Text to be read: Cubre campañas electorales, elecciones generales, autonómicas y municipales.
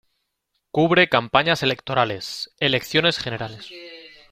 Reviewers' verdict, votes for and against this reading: rejected, 0, 2